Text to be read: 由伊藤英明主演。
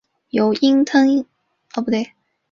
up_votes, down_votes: 2, 2